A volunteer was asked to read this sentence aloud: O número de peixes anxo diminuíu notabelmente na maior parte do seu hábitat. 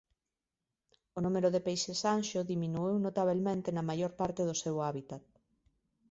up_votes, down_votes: 0, 2